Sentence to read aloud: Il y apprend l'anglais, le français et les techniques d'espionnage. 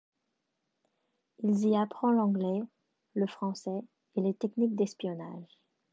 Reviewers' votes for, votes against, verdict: 1, 2, rejected